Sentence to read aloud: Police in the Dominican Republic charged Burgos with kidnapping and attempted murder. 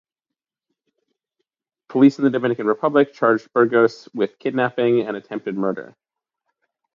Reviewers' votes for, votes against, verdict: 2, 0, accepted